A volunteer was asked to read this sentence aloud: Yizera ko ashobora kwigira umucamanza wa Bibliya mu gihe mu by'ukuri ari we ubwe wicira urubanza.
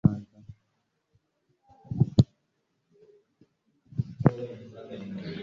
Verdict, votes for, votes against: rejected, 0, 2